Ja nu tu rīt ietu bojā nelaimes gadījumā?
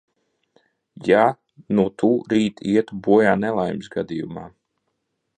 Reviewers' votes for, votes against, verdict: 2, 0, accepted